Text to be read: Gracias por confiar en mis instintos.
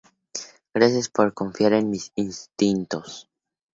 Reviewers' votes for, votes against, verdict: 0, 2, rejected